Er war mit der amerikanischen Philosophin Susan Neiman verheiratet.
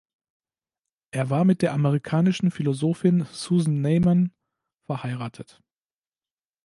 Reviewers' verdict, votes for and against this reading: accepted, 3, 0